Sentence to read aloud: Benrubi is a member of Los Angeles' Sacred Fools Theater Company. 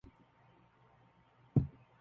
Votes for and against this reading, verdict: 0, 2, rejected